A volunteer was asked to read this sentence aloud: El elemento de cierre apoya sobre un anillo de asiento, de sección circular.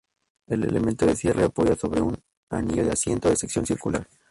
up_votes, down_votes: 2, 0